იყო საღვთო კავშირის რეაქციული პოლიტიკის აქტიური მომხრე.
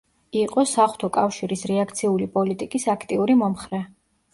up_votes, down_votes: 2, 0